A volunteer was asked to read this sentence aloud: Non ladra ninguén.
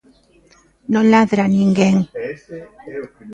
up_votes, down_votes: 1, 2